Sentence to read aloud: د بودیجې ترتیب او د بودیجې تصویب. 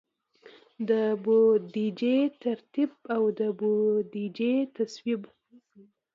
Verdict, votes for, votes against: rejected, 1, 2